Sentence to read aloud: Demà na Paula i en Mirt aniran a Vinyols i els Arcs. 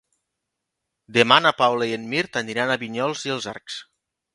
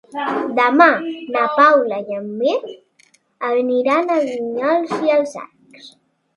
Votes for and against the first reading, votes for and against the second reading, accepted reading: 2, 0, 0, 2, first